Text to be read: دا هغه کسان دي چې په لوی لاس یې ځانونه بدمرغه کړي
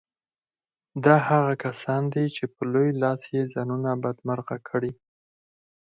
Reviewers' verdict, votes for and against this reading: rejected, 0, 4